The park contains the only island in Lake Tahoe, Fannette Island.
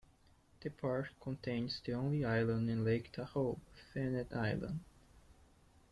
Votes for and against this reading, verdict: 1, 2, rejected